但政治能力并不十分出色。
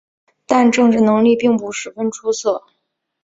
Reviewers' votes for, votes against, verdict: 2, 0, accepted